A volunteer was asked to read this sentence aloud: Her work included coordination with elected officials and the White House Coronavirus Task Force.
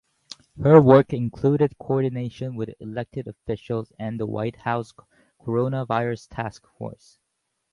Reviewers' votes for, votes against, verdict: 4, 0, accepted